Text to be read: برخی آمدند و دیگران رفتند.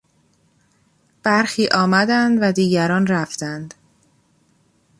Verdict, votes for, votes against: accepted, 2, 0